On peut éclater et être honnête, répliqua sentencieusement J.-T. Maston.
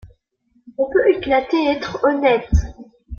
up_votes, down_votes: 0, 2